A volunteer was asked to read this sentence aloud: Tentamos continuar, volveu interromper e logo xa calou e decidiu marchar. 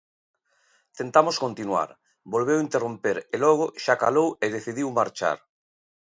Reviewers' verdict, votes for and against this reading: accepted, 2, 0